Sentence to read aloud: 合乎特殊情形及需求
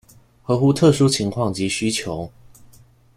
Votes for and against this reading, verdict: 0, 2, rejected